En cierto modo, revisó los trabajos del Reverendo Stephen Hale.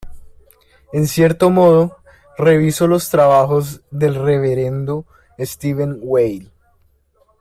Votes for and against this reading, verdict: 0, 2, rejected